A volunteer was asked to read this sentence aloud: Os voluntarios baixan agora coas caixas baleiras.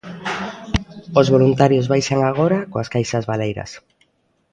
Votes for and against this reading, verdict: 1, 2, rejected